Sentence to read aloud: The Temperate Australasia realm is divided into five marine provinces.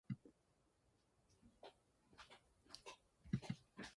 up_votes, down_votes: 0, 3